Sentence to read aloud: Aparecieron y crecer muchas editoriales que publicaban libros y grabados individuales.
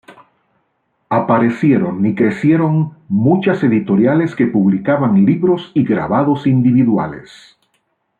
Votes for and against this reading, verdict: 1, 2, rejected